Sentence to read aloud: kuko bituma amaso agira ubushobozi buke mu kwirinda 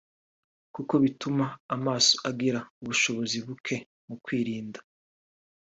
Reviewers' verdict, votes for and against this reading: accepted, 2, 0